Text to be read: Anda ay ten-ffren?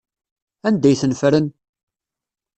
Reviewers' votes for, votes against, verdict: 2, 0, accepted